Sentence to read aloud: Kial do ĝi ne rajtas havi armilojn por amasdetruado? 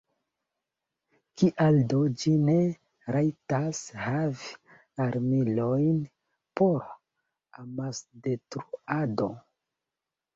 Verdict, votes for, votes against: accepted, 2, 1